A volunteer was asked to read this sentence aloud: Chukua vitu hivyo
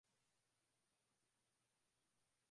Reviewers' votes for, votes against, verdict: 0, 2, rejected